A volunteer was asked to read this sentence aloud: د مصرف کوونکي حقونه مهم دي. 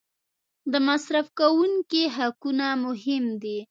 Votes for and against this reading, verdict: 2, 0, accepted